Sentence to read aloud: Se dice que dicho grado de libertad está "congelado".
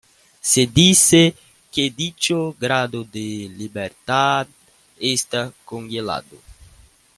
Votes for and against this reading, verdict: 0, 2, rejected